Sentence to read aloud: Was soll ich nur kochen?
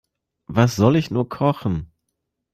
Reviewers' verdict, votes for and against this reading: accepted, 2, 0